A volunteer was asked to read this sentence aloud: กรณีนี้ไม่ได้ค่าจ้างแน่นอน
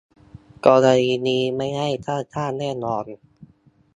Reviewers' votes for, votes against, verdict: 2, 1, accepted